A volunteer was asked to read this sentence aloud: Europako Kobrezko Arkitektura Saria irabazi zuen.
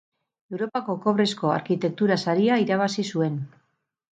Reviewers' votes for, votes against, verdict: 0, 2, rejected